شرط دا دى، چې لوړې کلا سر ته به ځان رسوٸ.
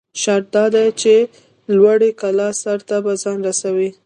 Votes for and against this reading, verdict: 0, 2, rejected